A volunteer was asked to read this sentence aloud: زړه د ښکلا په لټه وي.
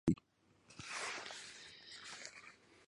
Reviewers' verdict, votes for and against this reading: rejected, 1, 2